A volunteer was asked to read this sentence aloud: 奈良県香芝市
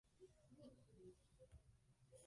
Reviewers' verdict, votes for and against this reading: rejected, 1, 2